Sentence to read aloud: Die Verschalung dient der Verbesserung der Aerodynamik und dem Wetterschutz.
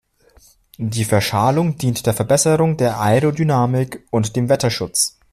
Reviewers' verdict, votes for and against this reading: rejected, 0, 2